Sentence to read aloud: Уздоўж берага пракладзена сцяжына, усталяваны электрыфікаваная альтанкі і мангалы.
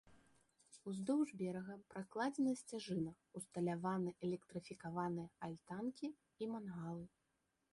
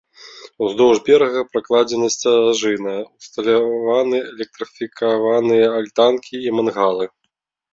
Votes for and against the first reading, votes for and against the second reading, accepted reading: 2, 0, 1, 2, first